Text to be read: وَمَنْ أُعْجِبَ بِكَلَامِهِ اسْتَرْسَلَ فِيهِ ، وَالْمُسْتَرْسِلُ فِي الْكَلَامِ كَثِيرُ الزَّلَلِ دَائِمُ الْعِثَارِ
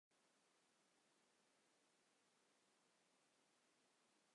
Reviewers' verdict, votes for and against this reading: rejected, 1, 2